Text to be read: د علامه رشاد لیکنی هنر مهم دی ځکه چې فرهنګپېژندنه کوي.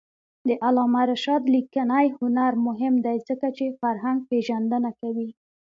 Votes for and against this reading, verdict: 2, 0, accepted